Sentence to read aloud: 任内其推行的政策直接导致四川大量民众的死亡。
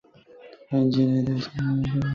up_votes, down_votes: 0, 4